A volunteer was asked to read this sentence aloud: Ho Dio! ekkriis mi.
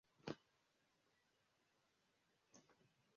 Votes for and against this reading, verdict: 0, 2, rejected